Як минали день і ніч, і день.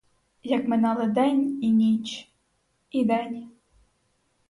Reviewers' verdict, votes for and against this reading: accepted, 4, 0